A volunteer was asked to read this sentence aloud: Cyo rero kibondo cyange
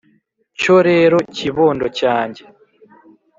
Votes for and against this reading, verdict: 3, 0, accepted